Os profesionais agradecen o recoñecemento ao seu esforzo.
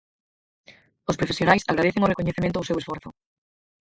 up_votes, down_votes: 0, 4